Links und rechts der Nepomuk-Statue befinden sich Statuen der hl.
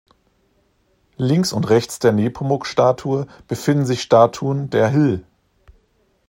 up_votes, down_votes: 1, 2